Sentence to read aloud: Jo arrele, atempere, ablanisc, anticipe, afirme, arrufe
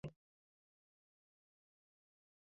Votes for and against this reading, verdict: 0, 2, rejected